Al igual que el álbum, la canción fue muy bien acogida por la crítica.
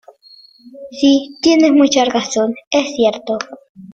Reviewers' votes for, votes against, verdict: 1, 2, rejected